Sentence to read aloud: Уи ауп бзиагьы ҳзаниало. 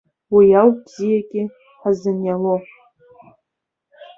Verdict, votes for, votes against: rejected, 1, 2